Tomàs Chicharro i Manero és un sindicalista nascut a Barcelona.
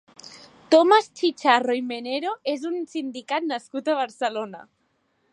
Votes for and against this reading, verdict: 1, 2, rejected